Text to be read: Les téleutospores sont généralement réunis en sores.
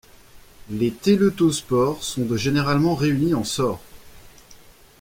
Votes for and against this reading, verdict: 1, 2, rejected